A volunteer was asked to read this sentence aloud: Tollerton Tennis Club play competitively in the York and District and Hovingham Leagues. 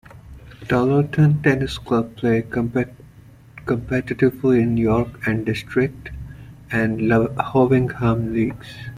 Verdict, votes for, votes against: rejected, 1, 2